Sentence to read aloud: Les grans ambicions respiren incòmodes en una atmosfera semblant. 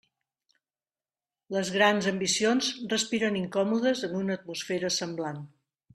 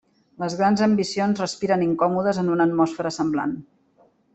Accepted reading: first